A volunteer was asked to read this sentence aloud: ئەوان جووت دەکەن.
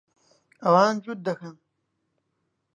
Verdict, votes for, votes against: accepted, 2, 0